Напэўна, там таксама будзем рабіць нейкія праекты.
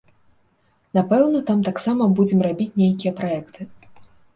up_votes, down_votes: 2, 0